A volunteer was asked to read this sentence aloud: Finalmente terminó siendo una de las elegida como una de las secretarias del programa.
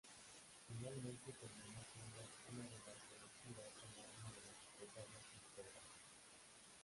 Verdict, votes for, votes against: rejected, 0, 3